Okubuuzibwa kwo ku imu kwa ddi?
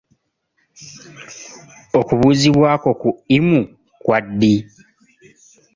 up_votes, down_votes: 3, 0